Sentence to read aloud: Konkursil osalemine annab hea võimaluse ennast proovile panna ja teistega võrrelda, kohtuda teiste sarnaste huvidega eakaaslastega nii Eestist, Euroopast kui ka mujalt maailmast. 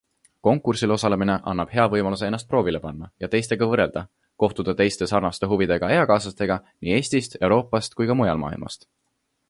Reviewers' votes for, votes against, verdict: 2, 0, accepted